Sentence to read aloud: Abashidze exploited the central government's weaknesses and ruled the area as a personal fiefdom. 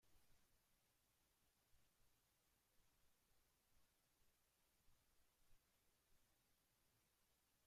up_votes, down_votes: 0, 2